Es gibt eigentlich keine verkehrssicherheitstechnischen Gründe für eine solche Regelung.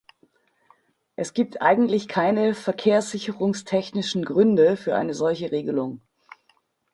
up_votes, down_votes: 2, 4